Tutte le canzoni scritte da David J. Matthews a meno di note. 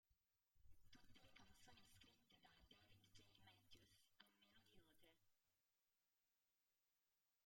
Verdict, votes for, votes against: rejected, 0, 2